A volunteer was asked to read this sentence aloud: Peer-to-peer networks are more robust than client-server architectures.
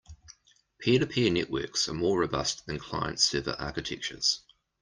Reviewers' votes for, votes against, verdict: 2, 0, accepted